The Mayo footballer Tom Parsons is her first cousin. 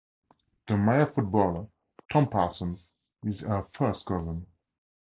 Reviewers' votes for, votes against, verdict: 2, 2, rejected